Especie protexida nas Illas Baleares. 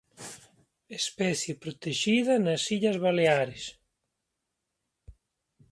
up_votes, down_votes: 2, 0